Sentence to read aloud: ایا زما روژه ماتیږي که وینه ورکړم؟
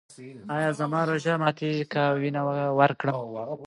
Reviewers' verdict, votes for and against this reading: accepted, 2, 0